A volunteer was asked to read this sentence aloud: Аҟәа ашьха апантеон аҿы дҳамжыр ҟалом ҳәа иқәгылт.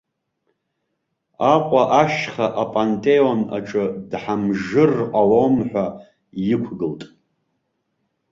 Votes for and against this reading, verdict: 0, 2, rejected